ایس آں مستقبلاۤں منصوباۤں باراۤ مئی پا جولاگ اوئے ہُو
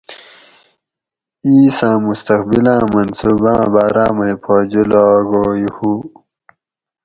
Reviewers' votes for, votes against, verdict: 4, 0, accepted